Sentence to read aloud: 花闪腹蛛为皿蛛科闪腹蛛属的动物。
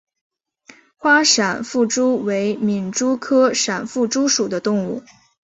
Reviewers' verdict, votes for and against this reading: accepted, 2, 0